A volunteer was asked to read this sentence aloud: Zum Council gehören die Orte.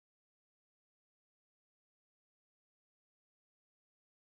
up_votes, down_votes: 0, 4